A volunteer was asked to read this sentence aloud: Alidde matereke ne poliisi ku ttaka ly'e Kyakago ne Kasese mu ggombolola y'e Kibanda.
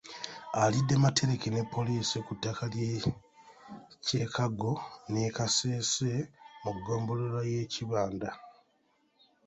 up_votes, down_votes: 0, 2